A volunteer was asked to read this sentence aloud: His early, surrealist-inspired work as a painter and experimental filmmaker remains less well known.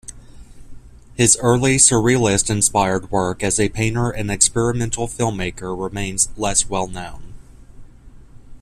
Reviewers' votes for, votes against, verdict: 2, 0, accepted